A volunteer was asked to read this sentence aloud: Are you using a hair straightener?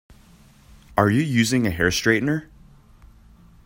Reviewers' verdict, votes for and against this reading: accepted, 2, 0